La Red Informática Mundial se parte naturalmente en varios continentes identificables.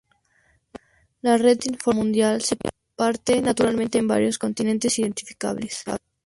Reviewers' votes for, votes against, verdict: 0, 2, rejected